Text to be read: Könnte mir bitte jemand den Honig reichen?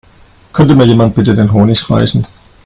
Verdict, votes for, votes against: rejected, 1, 2